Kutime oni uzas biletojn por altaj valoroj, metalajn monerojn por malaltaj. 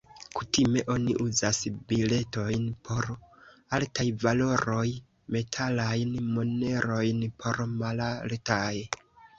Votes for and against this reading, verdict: 2, 0, accepted